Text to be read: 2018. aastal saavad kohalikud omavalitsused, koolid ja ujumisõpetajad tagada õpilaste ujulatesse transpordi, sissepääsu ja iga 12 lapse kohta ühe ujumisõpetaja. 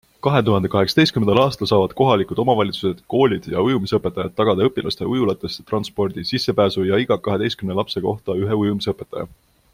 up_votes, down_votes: 0, 2